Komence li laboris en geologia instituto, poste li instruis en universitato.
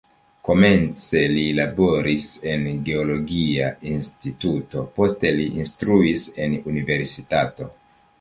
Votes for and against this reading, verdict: 1, 3, rejected